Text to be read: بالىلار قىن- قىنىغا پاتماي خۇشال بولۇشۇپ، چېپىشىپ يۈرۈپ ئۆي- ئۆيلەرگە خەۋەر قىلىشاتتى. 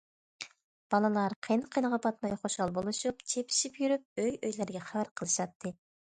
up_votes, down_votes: 2, 0